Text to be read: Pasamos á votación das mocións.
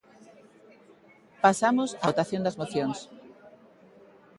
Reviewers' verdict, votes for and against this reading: accepted, 2, 0